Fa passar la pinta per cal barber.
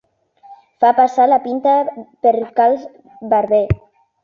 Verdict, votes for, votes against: rejected, 0, 2